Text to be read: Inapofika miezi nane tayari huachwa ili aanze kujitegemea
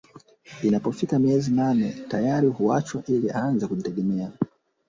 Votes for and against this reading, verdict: 1, 2, rejected